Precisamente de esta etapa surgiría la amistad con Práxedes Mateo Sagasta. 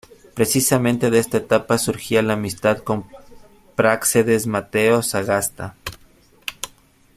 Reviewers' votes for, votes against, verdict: 0, 2, rejected